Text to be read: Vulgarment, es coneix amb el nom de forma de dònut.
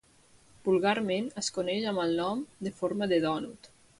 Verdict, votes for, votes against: accepted, 2, 0